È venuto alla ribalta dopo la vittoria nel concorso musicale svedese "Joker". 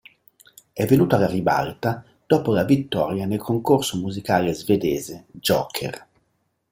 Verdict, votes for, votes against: accepted, 2, 0